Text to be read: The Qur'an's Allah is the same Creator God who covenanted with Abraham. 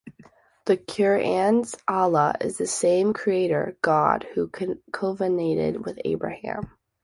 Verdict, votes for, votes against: rejected, 0, 2